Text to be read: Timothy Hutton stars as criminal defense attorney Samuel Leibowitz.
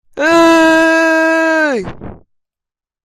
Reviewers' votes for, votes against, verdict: 0, 2, rejected